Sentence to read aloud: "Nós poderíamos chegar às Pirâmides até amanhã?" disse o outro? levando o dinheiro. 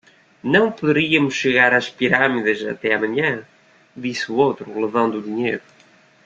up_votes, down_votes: 1, 2